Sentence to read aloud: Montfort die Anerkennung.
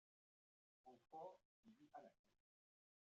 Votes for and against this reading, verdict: 0, 2, rejected